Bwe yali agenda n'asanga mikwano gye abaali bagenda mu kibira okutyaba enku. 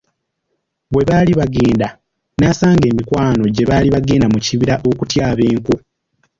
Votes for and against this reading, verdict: 1, 2, rejected